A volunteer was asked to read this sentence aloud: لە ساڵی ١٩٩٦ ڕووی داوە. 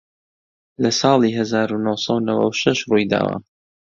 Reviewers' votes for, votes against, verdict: 0, 2, rejected